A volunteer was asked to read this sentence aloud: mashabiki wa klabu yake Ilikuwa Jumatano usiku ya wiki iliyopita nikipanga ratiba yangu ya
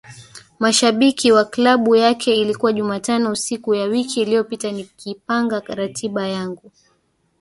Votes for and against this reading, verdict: 1, 2, rejected